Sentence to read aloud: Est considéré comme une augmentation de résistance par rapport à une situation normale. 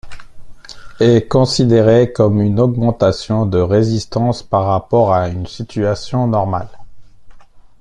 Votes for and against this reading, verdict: 2, 1, accepted